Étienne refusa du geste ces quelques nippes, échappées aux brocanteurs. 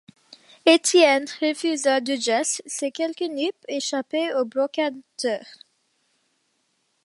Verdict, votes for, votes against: accepted, 2, 1